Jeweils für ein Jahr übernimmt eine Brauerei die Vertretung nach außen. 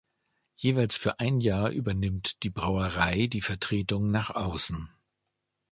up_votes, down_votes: 0, 2